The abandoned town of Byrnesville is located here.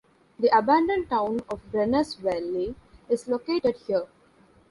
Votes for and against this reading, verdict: 0, 2, rejected